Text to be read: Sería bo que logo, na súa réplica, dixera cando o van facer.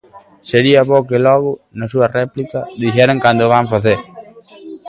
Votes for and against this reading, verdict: 1, 2, rejected